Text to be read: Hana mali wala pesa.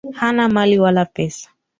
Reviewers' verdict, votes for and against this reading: accepted, 2, 0